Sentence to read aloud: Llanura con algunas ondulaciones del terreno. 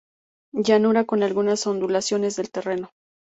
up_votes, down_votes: 2, 0